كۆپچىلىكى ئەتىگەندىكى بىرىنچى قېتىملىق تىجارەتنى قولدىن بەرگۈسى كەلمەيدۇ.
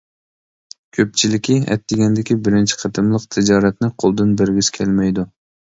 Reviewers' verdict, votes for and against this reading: accepted, 2, 0